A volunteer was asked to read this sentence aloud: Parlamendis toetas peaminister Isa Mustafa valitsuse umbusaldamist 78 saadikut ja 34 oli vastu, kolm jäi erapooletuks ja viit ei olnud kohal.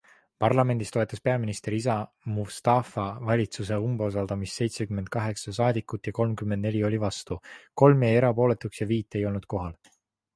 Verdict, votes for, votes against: rejected, 0, 2